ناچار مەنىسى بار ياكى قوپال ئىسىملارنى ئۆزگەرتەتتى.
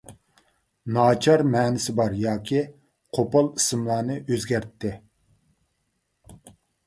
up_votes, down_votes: 2, 0